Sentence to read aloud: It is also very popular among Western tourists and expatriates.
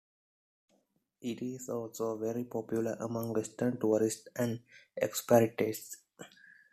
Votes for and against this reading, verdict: 1, 2, rejected